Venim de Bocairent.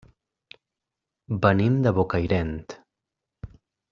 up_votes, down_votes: 0, 2